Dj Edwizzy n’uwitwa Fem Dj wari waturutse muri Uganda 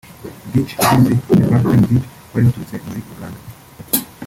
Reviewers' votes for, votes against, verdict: 1, 2, rejected